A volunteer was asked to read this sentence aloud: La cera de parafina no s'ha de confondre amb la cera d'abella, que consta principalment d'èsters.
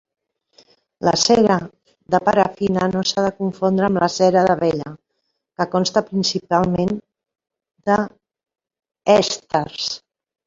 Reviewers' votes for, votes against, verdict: 0, 2, rejected